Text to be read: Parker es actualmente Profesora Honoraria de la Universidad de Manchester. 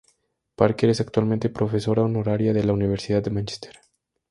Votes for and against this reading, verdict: 2, 0, accepted